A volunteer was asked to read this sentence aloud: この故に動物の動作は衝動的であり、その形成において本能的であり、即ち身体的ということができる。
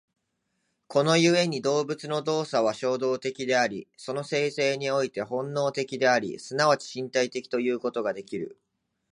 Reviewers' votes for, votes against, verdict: 2, 1, accepted